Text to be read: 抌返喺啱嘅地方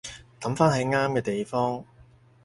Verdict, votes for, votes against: accepted, 4, 0